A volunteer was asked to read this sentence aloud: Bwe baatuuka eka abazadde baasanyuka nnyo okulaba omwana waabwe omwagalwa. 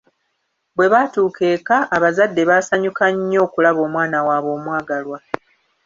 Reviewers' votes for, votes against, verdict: 2, 0, accepted